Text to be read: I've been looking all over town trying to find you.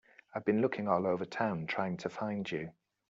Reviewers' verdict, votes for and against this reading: accepted, 3, 0